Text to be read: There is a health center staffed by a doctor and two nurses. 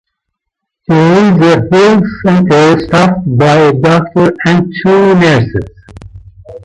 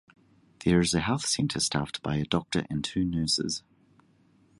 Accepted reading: second